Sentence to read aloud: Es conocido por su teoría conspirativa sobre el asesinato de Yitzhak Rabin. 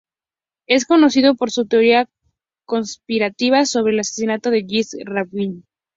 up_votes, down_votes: 2, 0